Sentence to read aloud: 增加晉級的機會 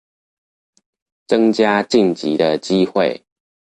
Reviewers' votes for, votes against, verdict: 2, 0, accepted